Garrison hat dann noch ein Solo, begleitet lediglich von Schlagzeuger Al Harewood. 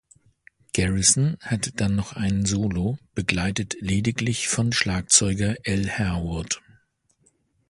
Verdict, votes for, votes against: accepted, 2, 0